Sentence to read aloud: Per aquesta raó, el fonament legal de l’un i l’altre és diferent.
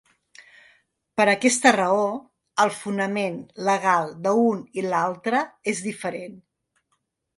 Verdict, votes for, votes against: rejected, 1, 2